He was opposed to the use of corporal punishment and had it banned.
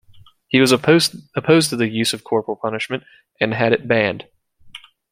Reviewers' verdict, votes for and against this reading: rejected, 0, 2